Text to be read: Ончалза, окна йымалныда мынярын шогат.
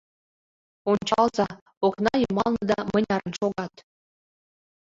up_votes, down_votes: 1, 2